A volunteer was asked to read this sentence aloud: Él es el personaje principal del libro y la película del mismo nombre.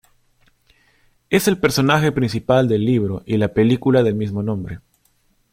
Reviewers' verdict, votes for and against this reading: rejected, 1, 2